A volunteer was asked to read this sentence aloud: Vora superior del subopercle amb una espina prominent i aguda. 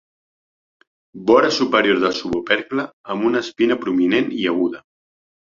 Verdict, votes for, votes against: accepted, 2, 1